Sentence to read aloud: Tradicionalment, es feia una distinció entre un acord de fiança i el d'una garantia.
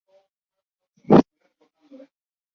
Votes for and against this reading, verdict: 0, 2, rejected